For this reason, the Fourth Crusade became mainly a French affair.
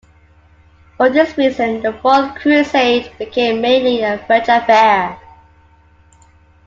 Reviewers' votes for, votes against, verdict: 2, 0, accepted